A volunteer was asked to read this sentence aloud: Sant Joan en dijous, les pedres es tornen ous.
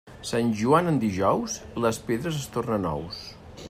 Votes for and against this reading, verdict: 3, 0, accepted